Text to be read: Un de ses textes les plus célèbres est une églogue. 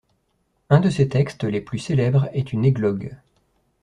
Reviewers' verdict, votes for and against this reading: accepted, 2, 0